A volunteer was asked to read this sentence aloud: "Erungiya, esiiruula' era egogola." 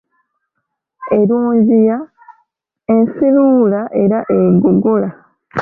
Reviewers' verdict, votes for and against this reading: rejected, 1, 2